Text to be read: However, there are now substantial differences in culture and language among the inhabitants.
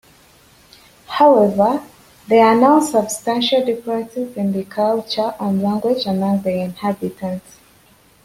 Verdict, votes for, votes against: accepted, 2, 1